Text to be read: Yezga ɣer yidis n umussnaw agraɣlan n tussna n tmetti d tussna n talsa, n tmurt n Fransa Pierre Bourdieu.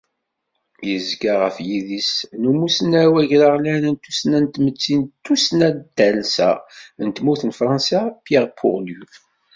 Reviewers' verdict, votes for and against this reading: rejected, 1, 2